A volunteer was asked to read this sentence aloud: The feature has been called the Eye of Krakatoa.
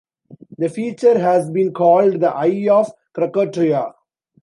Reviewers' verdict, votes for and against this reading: rejected, 1, 2